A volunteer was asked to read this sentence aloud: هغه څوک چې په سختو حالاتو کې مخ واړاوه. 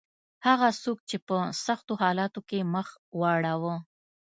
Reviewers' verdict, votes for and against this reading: accepted, 2, 0